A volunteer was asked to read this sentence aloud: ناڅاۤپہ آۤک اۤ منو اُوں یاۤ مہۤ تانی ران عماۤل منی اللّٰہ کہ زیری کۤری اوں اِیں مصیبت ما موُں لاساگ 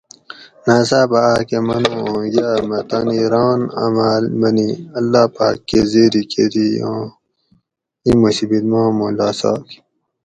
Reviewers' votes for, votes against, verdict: 2, 2, rejected